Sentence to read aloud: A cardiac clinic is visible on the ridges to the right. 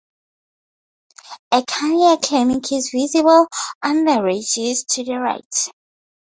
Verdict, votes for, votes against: accepted, 2, 0